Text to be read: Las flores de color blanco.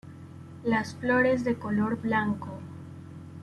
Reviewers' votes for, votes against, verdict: 0, 2, rejected